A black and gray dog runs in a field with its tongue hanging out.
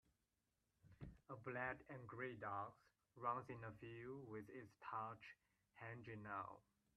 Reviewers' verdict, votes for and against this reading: rejected, 0, 2